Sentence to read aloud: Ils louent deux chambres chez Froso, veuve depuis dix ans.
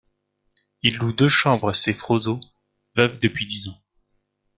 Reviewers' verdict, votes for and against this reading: rejected, 0, 3